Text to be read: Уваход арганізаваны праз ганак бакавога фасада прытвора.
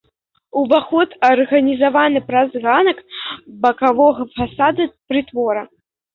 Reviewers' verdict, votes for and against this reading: accepted, 2, 0